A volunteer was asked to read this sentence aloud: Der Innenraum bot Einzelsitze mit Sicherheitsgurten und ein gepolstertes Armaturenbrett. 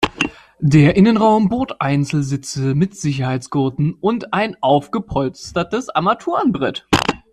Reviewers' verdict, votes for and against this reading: rejected, 1, 2